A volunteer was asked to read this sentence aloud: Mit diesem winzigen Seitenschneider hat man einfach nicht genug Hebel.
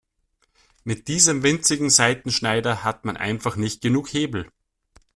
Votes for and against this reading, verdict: 2, 0, accepted